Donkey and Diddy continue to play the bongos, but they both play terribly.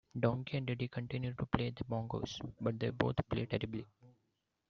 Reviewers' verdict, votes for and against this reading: accepted, 2, 0